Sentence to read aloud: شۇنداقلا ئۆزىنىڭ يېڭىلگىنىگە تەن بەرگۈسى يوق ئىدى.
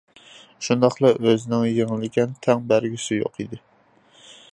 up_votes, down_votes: 0, 2